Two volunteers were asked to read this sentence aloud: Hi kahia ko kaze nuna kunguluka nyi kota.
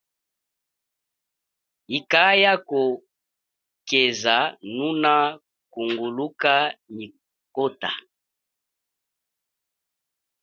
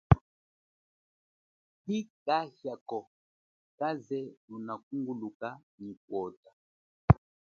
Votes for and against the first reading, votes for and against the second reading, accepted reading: 1, 3, 2, 0, second